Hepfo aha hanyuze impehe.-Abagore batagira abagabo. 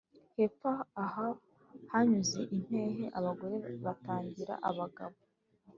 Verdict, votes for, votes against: accepted, 2, 0